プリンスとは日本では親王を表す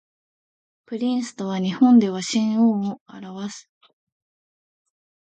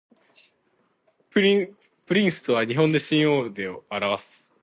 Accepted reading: second